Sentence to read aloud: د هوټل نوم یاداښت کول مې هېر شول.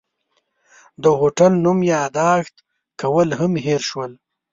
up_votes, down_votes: 1, 2